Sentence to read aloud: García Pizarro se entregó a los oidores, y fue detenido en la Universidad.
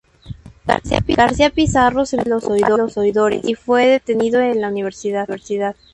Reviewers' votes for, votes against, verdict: 0, 2, rejected